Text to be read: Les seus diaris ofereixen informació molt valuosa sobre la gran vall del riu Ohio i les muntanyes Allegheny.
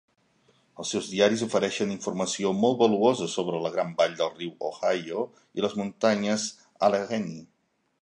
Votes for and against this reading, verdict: 1, 2, rejected